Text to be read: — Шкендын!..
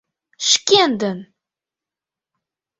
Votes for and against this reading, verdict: 2, 0, accepted